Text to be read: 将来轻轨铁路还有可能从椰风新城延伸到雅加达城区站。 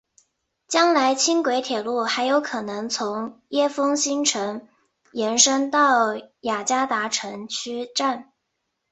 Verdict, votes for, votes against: accepted, 4, 1